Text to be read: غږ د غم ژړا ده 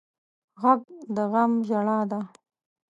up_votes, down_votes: 2, 0